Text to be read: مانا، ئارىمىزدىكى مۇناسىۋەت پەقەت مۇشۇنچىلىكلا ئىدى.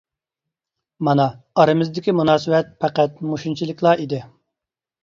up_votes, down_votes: 2, 0